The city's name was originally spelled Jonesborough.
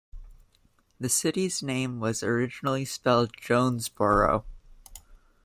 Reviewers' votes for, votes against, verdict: 2, 0, accepted